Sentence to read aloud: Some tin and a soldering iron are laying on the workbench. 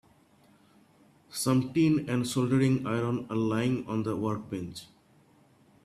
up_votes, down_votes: 0, 2